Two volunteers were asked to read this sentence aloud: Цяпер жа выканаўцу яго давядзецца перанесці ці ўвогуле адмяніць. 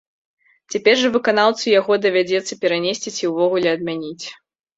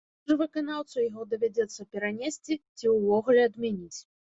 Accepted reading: first